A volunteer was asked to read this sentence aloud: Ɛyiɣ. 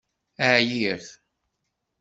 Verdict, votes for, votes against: rejected, 1, 2